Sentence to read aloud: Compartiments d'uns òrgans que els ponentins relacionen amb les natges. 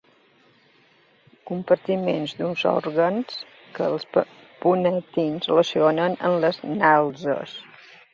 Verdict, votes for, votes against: accepted, 2, 0